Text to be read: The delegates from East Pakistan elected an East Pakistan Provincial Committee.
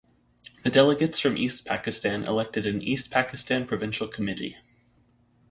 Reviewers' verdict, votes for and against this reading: accepted, 2, 0